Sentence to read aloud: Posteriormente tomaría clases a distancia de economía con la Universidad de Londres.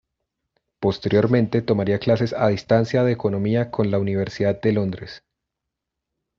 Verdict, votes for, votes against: accepted, 2, 0